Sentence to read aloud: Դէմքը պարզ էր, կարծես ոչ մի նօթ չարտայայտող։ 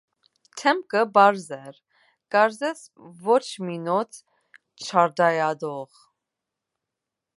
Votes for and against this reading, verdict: 2, 1, accepted